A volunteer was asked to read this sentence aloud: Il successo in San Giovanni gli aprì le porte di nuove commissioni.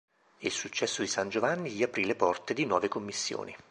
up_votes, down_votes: 2, 0